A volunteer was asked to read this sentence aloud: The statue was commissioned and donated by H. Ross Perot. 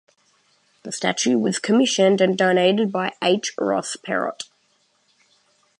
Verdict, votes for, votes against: accepted, 2, 0